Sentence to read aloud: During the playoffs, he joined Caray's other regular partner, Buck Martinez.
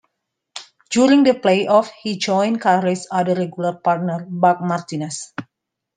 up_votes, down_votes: 2, 0